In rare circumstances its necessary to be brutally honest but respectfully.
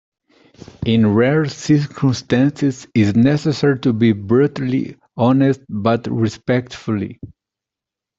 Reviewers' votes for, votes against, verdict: 1, 2, rejected